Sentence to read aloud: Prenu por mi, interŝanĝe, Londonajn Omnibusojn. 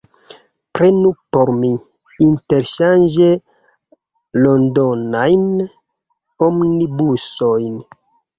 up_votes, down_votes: 1, 2